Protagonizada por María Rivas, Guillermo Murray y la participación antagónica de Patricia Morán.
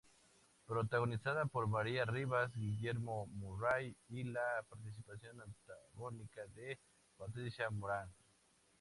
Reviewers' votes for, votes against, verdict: 2, 0, accepted